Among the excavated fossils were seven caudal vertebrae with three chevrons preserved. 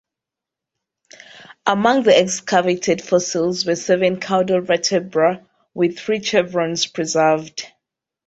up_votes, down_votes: 2, 0